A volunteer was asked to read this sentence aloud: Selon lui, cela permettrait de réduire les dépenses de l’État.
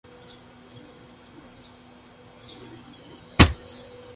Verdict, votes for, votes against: rejected, 0, 2